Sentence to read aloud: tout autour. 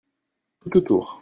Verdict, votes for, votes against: rejected, 1, 2